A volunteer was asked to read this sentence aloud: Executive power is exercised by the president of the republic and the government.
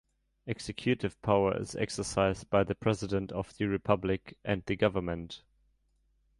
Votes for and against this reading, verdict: 1, 2, rejected